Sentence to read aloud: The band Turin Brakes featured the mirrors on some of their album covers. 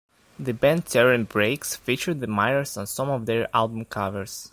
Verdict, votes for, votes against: rejected, 1, 2